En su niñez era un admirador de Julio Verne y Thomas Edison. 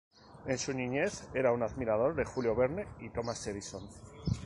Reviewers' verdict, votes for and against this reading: accepted, 6, 0